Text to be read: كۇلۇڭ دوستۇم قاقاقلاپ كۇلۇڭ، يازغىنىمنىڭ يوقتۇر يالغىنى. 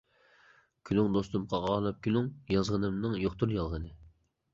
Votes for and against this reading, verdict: 0, 2, rejected